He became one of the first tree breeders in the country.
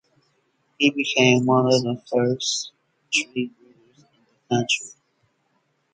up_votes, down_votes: 0, 4